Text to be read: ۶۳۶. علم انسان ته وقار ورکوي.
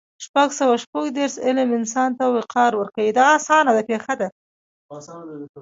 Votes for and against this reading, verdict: 0, 2, rejected